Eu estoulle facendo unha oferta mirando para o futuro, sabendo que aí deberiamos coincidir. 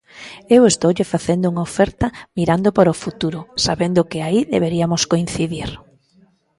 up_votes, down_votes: 2, 1